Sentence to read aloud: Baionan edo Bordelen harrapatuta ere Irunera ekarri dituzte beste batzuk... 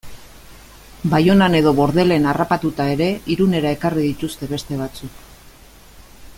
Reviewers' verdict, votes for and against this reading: accepted, 2, 0